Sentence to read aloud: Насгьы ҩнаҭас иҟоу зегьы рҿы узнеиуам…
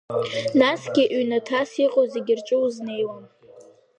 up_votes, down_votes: 2, 0